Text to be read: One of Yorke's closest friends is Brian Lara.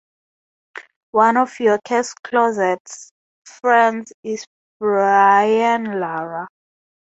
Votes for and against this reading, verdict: 0, 4, rejected